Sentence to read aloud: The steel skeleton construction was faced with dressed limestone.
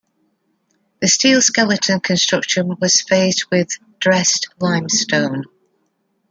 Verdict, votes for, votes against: accepted, 2, 1